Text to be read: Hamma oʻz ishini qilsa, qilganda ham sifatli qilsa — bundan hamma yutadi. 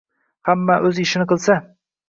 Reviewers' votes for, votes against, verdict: 0, 2, rejected